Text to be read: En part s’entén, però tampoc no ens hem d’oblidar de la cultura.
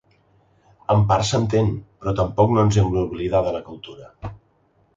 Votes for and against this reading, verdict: 3, 0, accepted